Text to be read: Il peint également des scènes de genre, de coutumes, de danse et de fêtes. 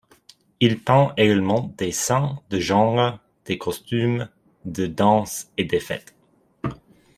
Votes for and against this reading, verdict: 0, 2, rejected